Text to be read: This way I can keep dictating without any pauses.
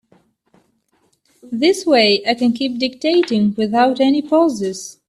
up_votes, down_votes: 2, 0